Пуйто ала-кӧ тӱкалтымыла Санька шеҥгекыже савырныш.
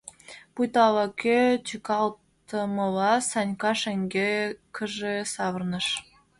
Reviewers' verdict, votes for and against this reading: rejected, 1, 2